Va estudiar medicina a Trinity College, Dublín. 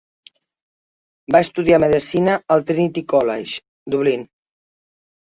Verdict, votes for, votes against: rejected, 1, 2